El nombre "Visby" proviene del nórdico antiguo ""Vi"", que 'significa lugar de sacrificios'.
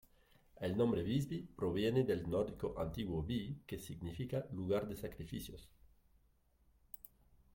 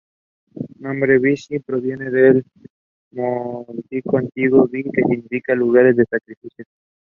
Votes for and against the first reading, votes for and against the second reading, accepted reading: 1, 2, 2, 0, second